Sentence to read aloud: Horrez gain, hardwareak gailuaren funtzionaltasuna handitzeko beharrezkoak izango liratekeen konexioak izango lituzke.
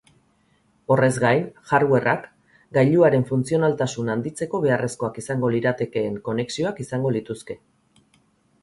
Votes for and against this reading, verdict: 0, 2, rejected